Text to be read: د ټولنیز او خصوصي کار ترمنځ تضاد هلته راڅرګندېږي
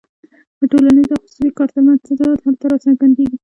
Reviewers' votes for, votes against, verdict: 1, 2, rejected